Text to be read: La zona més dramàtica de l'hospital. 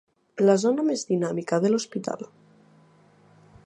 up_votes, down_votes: 0, 2